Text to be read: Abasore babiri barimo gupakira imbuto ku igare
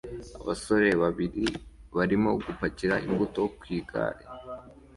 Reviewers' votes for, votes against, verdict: 2, 0, accepted